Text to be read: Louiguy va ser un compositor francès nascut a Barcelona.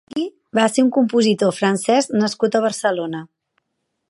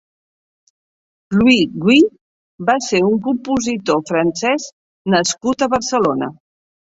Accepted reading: second